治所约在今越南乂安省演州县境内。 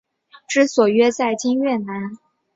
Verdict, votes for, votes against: accepted, 5, 2